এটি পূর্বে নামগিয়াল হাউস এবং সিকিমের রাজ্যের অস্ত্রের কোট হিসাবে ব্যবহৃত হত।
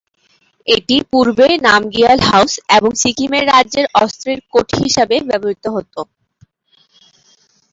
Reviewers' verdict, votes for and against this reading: rejected, 1, 2